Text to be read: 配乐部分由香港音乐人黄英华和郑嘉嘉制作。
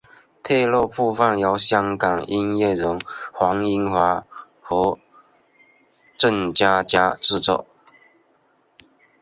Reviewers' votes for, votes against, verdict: 1, 2, rejected